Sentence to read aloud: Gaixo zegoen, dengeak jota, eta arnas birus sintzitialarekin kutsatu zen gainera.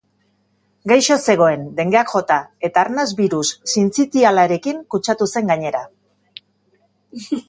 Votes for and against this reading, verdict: 2, 0, accepted